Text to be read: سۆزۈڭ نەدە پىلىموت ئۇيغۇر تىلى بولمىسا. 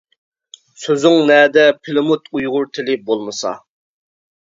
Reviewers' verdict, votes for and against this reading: accepted, 2, 0